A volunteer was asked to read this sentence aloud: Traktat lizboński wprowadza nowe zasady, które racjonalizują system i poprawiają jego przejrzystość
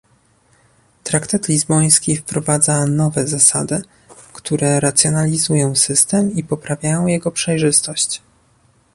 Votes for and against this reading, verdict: 0, 2, rejected